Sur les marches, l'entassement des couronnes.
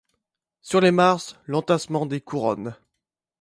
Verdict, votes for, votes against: accepted, 2, 1